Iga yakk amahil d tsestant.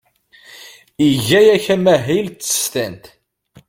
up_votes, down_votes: 2, 0